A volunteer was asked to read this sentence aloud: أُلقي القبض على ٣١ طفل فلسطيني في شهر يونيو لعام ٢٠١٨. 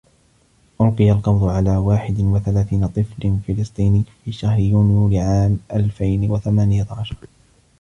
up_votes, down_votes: 0, 2